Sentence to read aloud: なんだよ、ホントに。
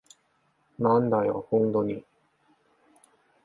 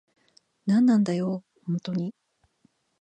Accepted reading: first